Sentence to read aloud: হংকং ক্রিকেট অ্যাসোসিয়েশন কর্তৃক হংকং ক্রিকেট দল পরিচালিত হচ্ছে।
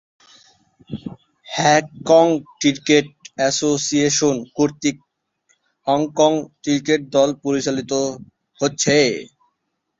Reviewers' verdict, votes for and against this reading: rejected, 0, 3